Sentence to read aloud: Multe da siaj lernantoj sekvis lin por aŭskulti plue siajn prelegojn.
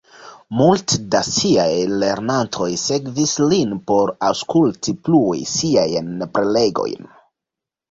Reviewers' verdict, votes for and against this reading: accepted, 2, 1